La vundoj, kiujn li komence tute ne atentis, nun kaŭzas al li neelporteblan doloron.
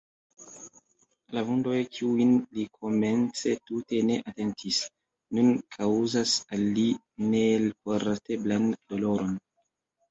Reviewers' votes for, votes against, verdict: 0, 2, rejected